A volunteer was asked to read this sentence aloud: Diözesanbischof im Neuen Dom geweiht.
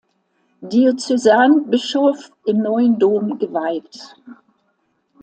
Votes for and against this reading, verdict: 2, 0, accepted